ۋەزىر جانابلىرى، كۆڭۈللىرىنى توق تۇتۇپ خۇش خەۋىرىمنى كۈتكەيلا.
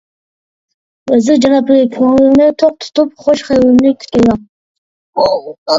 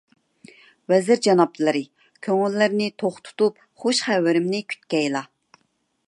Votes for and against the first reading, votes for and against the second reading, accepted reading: 1, 2, 2, 0, second